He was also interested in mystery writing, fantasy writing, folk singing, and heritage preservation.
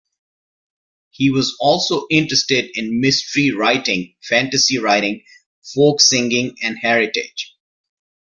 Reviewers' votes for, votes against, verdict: 0, 2, rejected